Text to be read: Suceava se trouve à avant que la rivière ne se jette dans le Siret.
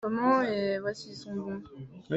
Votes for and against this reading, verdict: 0, 2, rejected